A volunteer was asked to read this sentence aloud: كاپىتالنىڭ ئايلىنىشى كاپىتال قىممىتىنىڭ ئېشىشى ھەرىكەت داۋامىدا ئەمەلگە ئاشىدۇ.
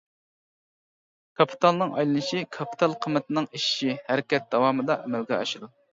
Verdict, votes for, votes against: rejected, 0, 2